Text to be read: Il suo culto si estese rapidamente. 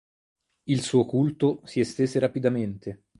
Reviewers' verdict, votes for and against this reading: rejected, 2, 2